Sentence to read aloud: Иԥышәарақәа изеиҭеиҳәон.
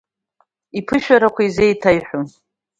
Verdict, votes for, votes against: accepted, 2, 0